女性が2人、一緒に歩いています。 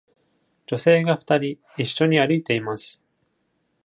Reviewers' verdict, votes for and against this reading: rejected, 0, 2